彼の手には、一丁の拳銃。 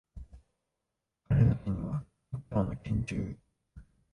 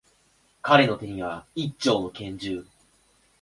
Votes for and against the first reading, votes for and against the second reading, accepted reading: 0, 2, 2, 0, second